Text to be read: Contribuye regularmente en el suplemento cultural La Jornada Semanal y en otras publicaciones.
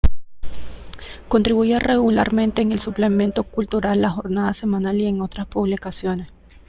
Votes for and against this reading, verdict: 2, 0, accepted